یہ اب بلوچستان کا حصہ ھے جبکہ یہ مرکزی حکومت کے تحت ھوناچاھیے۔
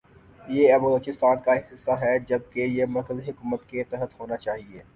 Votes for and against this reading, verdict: 2, 0, accepted